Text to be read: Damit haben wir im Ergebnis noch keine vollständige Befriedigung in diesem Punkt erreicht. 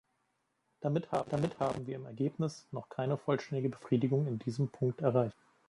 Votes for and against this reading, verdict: 1, 2, rejected